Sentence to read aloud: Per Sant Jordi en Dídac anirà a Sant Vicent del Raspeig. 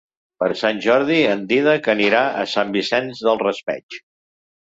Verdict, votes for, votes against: rejected, 0, 2